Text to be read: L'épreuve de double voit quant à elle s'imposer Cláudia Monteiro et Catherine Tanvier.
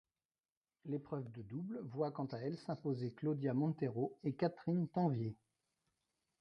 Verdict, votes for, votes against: rejected, 0, 2